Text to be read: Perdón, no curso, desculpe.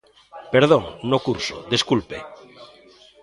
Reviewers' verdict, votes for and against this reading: accepted, 2, 0